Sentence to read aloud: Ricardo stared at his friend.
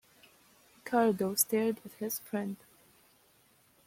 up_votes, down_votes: 2, 1